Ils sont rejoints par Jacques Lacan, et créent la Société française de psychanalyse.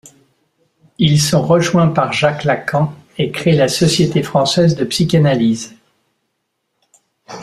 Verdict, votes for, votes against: accepted, 2, 0